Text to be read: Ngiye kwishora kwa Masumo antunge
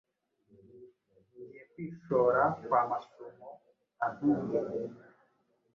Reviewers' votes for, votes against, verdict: 1, 2, rejected